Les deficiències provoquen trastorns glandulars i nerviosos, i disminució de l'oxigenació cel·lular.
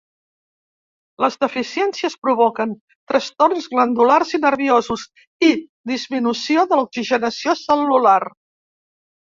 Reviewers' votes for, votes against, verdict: 1, 2, rejected